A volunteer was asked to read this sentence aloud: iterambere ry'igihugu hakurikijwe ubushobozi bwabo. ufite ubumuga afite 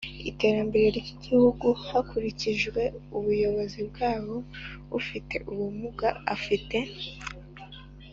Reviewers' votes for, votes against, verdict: 3, 2, accepted